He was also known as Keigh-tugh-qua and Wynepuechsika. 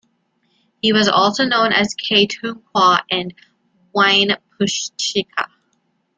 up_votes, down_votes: 2, 0